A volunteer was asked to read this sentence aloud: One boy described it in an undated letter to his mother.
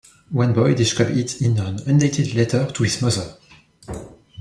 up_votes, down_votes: 1, 2